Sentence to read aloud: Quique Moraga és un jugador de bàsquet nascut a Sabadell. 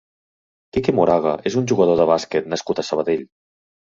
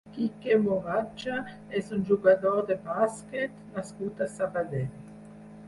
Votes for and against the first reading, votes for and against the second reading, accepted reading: 2, 0, 0, 4, first